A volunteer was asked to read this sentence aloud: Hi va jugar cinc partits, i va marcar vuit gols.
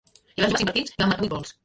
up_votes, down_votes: 0, 2